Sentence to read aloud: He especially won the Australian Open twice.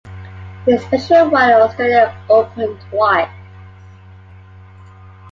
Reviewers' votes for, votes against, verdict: 0, 2, rejected